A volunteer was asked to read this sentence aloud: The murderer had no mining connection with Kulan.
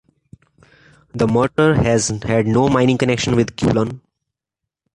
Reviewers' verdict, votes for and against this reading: rejected, 1, 2